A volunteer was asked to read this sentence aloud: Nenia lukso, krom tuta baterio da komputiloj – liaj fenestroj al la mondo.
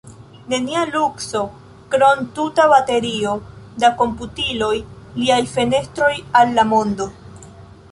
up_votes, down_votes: 0, 2